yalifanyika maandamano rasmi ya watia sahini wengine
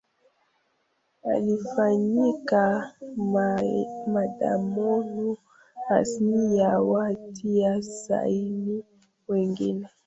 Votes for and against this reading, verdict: 0, 2, rejected